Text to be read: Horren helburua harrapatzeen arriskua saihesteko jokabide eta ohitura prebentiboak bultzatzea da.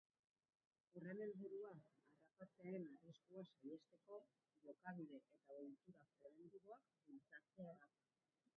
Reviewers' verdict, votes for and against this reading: rejected, 1, 2